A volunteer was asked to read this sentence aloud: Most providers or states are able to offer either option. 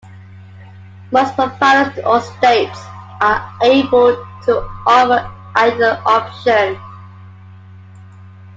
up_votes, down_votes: 2, 1